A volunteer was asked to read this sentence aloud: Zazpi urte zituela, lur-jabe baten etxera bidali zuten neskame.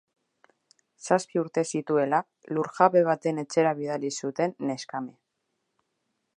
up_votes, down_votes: 2, 0